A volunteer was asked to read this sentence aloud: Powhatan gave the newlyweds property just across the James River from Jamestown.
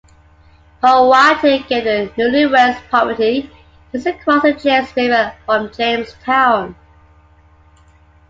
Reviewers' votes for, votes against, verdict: 2, 1, accepted